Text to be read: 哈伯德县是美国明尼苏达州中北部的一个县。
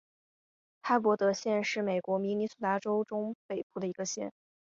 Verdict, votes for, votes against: accepted, 5, 0